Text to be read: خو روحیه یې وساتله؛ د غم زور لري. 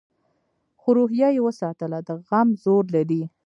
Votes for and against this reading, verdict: 0, 2, rejected